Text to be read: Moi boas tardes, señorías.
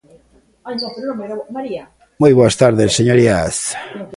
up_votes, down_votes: 0, 2